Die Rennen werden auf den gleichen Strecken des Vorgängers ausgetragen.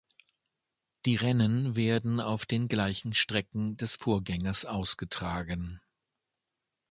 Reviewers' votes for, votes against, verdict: 3, 0, accepted